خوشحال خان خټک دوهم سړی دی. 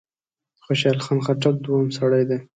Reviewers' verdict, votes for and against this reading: accepted, 2, 1